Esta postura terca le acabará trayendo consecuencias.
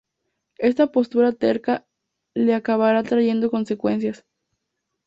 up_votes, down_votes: 2, 0